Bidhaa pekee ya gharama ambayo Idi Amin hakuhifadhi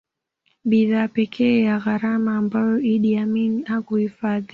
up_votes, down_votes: 2, 0